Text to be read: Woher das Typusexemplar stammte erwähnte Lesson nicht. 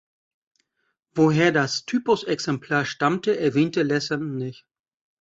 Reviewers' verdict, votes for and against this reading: accepted, 2, 0